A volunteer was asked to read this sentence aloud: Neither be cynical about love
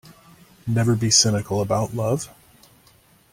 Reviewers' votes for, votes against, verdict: 1, 2, rejected